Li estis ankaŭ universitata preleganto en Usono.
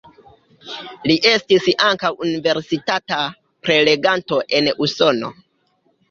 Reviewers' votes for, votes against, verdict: 2, 0, accepted